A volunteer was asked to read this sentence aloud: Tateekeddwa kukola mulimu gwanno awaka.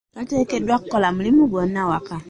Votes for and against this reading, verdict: 2, 0, accepted